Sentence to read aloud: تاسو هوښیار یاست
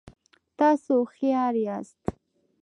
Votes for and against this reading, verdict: 2, 0, accepted